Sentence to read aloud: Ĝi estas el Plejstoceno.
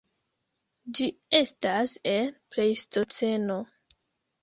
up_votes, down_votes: 1, 2